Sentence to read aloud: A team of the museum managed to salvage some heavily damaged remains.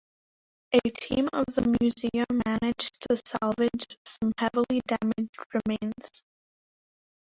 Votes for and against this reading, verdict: 0, 3, rejected